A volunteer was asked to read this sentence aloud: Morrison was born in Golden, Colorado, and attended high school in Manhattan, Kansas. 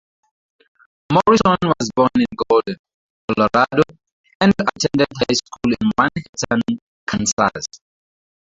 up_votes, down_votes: 0, 4